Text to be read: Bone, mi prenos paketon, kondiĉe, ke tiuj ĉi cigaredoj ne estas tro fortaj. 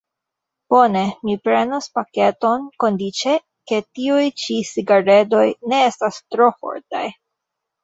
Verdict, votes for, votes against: rejected, 0, 2